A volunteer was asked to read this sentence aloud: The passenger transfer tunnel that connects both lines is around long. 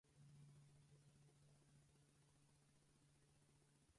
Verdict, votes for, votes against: rejected, 0, 4